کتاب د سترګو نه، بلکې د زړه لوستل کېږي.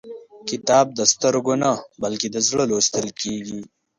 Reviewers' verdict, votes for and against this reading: rejected, 0, 2